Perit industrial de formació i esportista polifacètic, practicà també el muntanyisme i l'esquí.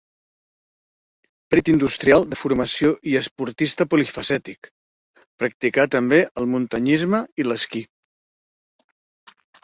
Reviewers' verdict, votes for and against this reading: rejected, 1, 2